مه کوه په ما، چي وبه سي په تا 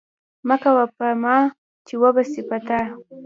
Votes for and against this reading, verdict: 3, 2, accepted